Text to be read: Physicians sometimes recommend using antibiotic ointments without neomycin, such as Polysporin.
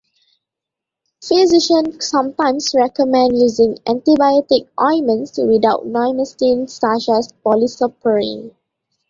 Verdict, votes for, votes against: accepted, 2, 1